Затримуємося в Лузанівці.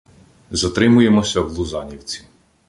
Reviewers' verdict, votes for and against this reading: accepted, 2, 0